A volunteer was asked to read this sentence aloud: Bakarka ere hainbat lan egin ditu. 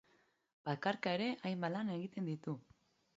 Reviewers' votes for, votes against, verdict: 0, 2, rejected